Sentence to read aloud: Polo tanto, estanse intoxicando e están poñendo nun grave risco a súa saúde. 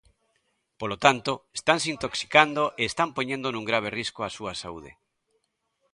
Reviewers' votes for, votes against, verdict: 2, 0, accepted